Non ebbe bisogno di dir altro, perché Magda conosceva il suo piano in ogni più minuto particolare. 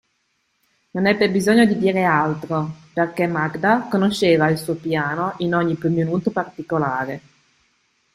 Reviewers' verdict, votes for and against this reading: accepted, 2, 1